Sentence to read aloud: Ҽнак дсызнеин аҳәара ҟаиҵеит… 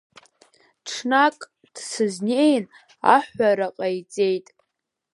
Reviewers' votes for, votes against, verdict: 3, 2, accepted